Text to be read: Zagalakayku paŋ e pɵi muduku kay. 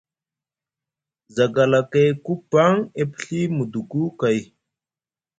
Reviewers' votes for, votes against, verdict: 1, 2, rejected